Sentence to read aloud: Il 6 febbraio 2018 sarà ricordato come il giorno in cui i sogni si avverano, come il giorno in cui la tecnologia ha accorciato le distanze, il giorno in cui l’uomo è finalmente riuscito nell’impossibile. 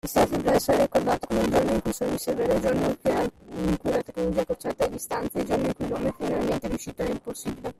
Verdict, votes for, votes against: rejected, 0, 2